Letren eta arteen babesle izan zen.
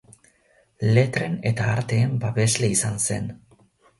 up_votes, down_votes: 2, 0